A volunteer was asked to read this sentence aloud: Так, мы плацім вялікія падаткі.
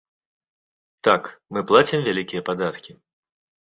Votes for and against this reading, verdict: 2, 0, accepted